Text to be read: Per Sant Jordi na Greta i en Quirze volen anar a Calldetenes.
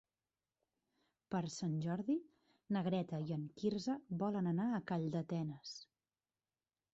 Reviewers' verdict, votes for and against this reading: accepted, 2, 0